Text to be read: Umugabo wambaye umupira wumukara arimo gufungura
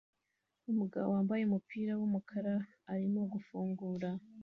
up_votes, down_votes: 2, 0